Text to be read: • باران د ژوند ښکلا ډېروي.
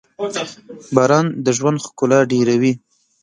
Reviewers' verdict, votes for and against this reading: rejected, 1, 2